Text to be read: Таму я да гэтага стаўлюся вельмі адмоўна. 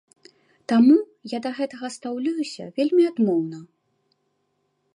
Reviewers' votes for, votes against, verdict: 0, 2, rejected